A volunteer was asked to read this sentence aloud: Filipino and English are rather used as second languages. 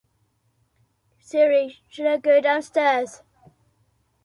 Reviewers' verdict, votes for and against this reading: rejected, 0, 2